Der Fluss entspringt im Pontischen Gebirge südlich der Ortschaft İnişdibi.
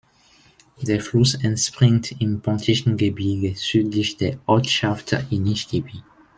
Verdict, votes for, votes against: accepted, 2, 1